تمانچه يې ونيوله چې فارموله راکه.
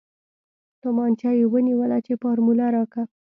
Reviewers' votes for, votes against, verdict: 2, 1, accepted